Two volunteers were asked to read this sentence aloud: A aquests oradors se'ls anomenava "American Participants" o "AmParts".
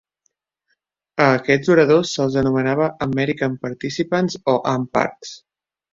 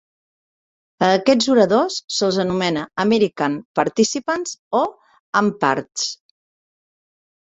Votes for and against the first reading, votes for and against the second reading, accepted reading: 2, 0, 0, 2, first